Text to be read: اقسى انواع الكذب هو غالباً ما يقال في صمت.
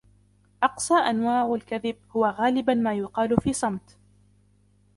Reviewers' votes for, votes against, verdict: 0, 2, rejected